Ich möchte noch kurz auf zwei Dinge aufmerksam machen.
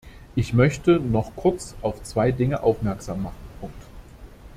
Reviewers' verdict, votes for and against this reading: rejected, 1, 2